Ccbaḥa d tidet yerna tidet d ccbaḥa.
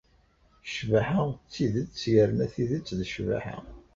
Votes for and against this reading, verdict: 2, 0, accepted